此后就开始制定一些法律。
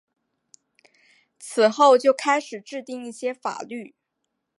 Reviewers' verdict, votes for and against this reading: accepted, 2, 0